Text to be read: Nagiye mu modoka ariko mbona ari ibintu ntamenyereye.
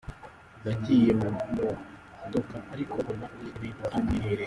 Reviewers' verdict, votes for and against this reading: rejected, 1, 2